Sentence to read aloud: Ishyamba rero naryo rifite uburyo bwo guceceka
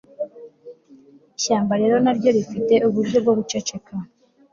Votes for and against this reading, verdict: 2, 0, accepted